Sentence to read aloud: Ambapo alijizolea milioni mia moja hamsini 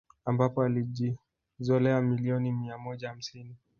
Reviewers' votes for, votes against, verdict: 2, 1, accepted